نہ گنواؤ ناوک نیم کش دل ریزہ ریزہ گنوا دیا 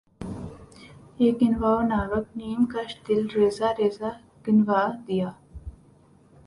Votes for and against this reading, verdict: 0, 2, rejected